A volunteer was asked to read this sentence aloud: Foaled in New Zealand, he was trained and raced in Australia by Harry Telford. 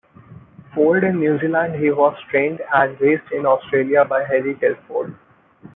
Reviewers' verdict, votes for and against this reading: rejected, 1, 2